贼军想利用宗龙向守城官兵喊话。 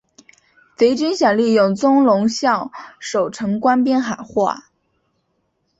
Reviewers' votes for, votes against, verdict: 2, 0, accepted